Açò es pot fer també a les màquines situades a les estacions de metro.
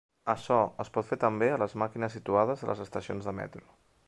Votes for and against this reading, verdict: 0, 2, rejected